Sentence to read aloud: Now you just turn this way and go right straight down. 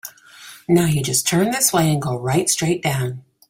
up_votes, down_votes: 3, 0